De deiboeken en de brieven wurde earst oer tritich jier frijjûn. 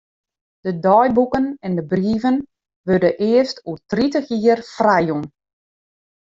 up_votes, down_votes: 2, 0